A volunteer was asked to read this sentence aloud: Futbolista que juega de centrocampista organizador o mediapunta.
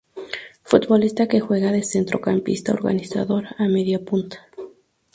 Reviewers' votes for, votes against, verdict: 0, 2, rejected